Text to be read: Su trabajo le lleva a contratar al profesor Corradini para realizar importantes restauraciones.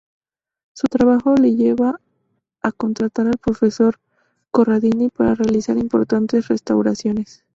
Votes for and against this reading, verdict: 2, 0, accepted